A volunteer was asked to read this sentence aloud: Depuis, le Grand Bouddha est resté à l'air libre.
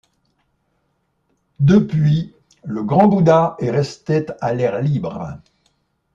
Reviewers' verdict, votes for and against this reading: rejected, 1, 2